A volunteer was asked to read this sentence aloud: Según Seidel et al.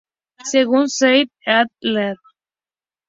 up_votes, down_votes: 2, 0